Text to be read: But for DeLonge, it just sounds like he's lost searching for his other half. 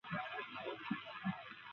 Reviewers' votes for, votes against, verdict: 0, 2, rejected